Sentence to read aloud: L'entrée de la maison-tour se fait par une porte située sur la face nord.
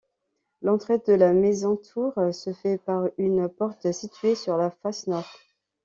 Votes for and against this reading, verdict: 2, 0, accepted